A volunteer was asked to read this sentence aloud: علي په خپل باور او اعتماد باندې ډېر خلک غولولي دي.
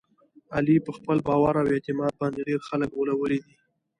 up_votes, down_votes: 2, 0